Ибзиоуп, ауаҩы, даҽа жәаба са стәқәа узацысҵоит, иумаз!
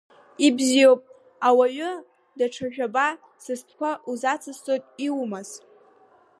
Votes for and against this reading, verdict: 3, 1, accepted